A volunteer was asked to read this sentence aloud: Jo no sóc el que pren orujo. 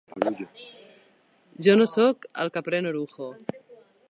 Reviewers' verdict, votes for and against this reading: accepted, 3, 0